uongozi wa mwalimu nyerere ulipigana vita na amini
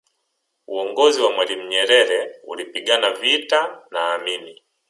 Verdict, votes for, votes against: accepted, 3, 0